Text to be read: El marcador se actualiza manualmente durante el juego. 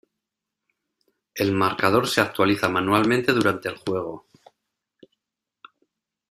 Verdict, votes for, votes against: accepted, 2, 1